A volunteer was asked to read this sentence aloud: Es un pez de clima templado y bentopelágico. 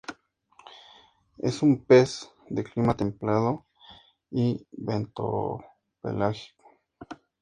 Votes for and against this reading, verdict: 2, 0, accepted